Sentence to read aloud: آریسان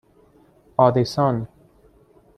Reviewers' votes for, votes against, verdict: 1, 2, rejected